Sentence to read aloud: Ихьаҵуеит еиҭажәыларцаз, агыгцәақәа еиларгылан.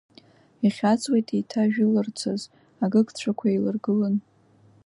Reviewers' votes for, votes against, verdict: 3, 0, accepted